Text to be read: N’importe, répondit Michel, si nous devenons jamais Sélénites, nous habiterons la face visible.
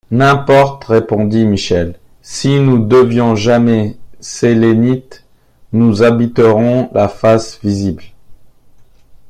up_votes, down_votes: 0, 2